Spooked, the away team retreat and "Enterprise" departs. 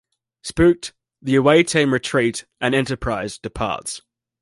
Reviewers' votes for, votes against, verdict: 2, 0, accepted